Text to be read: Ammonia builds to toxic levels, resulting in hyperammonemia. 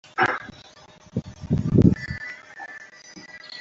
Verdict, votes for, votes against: rejected, 0, 2